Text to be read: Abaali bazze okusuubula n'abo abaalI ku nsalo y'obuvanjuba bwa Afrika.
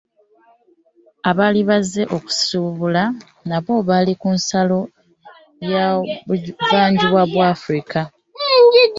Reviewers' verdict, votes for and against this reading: accepted, 2, 1